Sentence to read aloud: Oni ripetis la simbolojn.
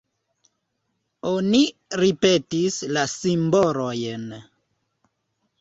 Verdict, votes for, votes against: rejected, 0, 2